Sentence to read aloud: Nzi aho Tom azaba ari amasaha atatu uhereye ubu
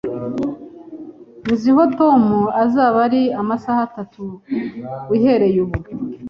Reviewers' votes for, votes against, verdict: 1, 2, rejected